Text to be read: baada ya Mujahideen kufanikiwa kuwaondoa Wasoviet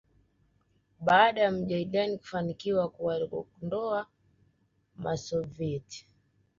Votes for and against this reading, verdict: 2, 0, accepted